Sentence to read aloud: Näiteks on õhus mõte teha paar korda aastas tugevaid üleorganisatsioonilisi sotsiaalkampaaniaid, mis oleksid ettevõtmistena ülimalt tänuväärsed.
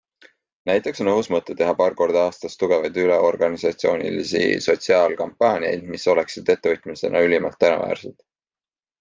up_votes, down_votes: 2, 1